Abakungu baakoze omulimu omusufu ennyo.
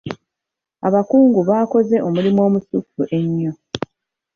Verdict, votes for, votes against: accepted, 2, 1